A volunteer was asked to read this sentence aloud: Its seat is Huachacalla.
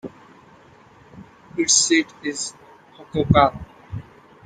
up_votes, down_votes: 1, 2